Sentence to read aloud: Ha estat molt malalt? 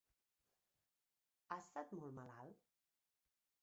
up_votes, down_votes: 2, 1